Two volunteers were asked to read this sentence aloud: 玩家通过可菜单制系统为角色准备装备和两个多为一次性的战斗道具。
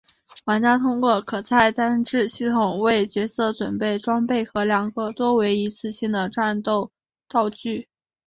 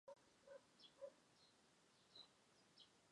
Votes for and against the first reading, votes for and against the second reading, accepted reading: 2, 0, 0, 6, first